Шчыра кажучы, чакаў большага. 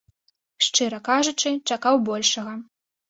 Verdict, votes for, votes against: accepted, 2, 0